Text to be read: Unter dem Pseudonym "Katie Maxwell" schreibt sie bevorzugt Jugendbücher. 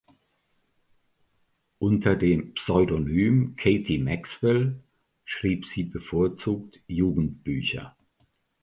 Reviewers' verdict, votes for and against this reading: rejected, 0, 2